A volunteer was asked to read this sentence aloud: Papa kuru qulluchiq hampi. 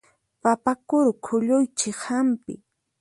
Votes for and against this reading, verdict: 2, 4, rejected